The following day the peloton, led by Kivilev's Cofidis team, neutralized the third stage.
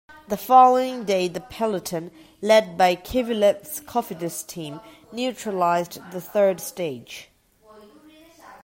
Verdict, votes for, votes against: rejected, 0, 2